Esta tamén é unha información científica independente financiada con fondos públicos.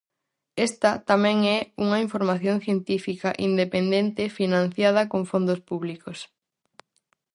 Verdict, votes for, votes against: accepted, 4, 0